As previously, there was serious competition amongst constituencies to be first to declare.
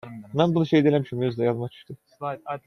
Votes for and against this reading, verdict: 0, 2, rejected